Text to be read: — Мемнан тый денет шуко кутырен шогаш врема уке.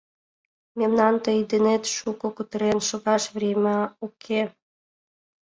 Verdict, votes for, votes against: accepted, 2, 0